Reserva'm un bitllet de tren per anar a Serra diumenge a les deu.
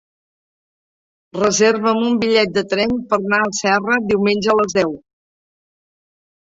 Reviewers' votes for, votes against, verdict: 0, 3, rejected